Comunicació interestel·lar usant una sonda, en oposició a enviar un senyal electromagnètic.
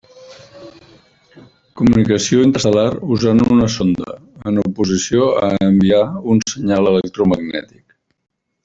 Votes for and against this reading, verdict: 1, 2, rejected